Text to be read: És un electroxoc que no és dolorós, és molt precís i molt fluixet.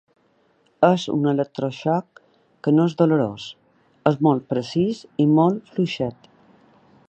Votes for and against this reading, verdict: 2, 0, accepted